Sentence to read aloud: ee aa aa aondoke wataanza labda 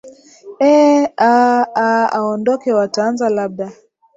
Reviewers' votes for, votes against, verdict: 4, 1, accepted